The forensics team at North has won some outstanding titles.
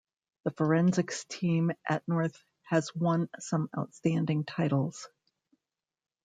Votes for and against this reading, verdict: 1, 2, rejected